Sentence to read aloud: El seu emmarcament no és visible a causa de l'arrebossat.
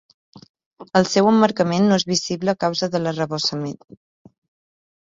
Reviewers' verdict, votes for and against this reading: rejected, 0, 2